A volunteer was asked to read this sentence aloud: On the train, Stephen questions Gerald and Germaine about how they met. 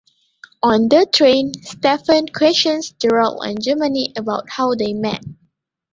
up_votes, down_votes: 0, 2